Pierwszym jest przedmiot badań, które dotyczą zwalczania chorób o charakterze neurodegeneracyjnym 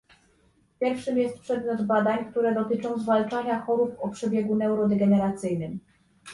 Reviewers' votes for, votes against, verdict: 0, 2, rejected